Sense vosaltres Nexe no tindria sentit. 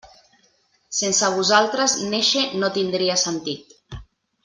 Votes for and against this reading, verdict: 0, 2, rejected